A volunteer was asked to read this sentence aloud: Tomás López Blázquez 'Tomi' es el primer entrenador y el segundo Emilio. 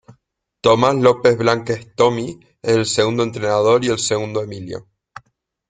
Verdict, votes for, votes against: rejected, 0, 2